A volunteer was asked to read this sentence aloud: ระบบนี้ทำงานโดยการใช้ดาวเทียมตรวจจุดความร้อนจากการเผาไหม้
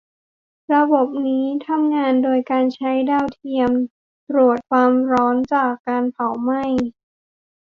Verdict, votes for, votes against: rejected, 0, 2